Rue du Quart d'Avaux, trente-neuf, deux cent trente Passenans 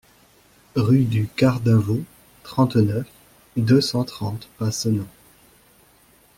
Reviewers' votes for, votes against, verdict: 2, 1, accepted